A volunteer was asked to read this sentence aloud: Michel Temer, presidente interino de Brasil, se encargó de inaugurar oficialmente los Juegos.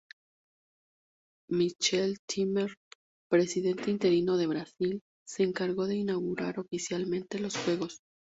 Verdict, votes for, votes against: accepted, 4, 0